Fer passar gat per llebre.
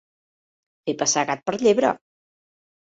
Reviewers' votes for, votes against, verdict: 2, 0, accepted